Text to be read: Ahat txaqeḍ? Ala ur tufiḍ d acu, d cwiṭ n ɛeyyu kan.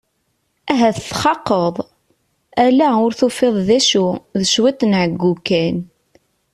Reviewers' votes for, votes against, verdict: 2, 0, accepted